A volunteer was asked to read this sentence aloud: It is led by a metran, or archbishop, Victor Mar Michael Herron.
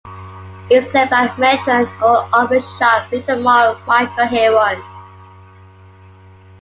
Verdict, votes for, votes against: rejected, 0, 2